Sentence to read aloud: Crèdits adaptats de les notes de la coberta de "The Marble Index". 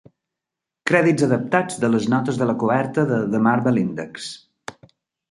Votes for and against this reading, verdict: 3, 0, accepted